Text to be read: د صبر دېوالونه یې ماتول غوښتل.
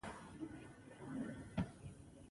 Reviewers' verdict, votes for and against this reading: rejected, 0, 2